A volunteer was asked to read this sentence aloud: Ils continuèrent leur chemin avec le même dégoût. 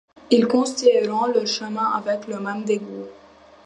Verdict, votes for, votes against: rejected, 0, 2